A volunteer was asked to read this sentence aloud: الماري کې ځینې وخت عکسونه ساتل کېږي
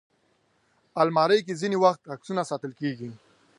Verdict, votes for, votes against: accepted, 2, 0